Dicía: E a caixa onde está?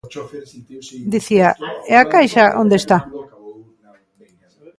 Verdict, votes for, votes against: rejected, 1, 2